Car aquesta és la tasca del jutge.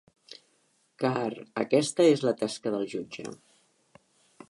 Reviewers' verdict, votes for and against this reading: accepted, 3, 0